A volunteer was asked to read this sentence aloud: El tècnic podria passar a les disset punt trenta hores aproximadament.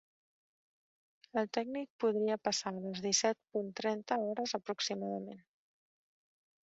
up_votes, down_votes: 1, 2